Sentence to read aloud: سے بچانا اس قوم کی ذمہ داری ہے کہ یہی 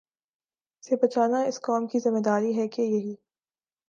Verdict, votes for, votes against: accepted, 3, 0